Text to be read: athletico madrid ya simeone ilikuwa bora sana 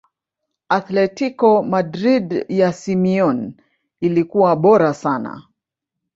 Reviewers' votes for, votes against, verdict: 2, 0, accepted